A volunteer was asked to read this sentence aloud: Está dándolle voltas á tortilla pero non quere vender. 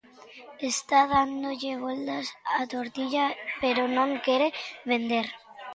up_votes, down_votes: 0, 2